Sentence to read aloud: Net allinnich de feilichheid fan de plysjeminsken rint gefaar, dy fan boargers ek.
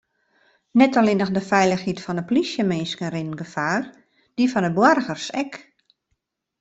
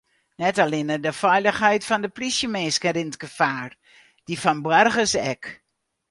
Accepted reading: first